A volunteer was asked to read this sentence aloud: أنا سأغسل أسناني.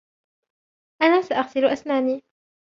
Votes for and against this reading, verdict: 2, 0, accepted